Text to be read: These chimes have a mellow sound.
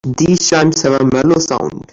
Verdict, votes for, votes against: rejected, 1, 2